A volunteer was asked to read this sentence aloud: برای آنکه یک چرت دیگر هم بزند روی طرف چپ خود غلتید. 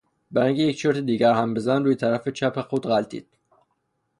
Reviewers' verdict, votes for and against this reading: rejected, 0, 3